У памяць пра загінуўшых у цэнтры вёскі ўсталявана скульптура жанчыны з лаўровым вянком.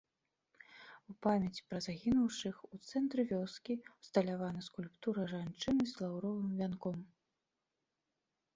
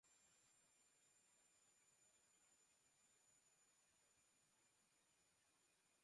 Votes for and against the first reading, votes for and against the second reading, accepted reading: 2, 0, 0, 2, first